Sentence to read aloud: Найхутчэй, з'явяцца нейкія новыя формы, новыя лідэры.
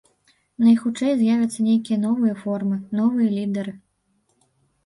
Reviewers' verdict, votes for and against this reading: rejected, 1, 2